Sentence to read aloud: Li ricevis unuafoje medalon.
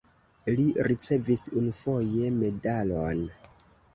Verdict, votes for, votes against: accepted, 2, 0